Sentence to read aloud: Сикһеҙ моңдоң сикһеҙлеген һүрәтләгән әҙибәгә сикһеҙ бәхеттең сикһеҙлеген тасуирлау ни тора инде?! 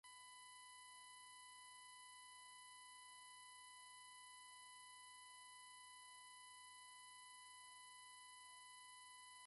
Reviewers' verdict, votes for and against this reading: rejected, 0, 2